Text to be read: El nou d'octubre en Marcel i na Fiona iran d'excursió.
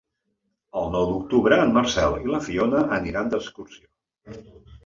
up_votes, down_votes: 0, 2